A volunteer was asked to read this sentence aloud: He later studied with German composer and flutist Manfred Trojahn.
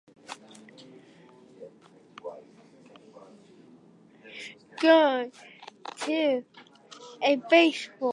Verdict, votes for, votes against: rejected, 0, 2